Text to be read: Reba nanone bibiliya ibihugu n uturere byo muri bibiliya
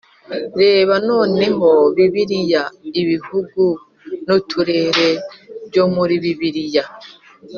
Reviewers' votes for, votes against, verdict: 1, 2, rejected